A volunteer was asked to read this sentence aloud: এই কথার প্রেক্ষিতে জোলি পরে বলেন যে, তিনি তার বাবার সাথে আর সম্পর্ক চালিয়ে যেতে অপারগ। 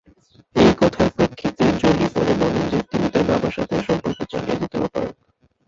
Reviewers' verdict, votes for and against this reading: rejected, 0, 2